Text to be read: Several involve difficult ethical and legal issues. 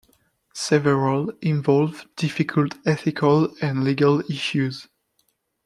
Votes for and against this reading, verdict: 2, 1, accepted